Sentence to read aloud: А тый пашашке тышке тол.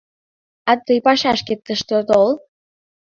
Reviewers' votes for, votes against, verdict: 0, 2, rejected